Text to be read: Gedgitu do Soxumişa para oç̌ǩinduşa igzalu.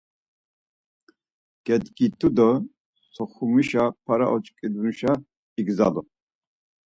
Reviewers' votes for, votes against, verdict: 4, 0, accepted